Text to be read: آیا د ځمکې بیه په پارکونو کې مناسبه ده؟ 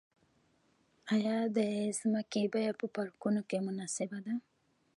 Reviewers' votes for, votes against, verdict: 1, 2, rejected